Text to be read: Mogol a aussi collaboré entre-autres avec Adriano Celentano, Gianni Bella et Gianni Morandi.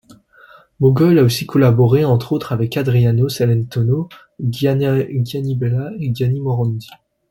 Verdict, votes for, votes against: rejected, 1, 2